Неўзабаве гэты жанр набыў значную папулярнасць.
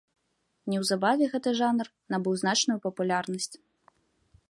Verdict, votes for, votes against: accepted, 2, 0